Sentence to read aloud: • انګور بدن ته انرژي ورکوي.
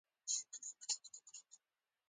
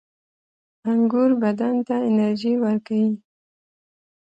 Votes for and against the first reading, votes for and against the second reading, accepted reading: 0, 2, 2, 0, second